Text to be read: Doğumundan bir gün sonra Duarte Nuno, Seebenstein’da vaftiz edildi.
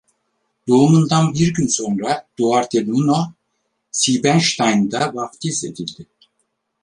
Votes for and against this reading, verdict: 2, 4, rejected